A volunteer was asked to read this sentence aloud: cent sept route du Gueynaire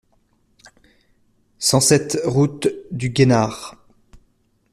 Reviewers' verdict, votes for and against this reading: rejected, 0, 2